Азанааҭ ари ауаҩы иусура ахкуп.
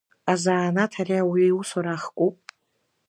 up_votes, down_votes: 2, 1